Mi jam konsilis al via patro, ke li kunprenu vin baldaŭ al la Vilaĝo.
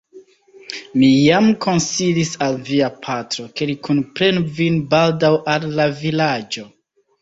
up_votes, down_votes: 1, 2